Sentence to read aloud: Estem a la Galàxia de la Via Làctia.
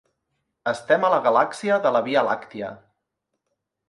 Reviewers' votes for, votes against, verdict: 3, 0, accepted